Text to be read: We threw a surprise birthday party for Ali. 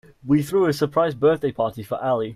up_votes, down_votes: 2, 1